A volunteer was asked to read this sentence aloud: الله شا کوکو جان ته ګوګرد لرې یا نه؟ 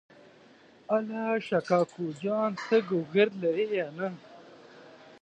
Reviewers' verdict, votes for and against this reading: rejected, 1, 2